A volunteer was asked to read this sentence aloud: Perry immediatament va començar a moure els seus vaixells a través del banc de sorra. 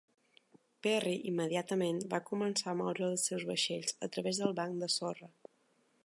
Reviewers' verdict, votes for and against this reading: accepted, 2, 0